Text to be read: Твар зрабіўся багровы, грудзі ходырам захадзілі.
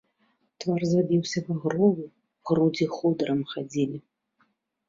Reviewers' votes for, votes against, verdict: 0, 2, rejected